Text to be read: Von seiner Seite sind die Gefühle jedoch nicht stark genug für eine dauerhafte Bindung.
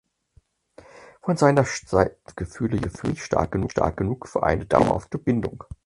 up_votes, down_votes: 0, 4